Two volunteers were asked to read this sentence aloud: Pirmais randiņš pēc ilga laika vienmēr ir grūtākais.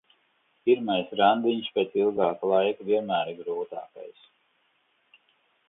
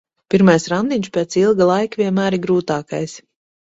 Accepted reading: second